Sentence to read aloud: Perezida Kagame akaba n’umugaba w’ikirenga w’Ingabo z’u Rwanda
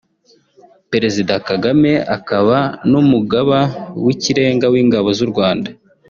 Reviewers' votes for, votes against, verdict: 2, 0, accepted